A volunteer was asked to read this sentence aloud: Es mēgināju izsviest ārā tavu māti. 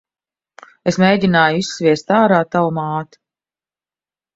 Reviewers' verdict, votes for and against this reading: accepted, 2, 0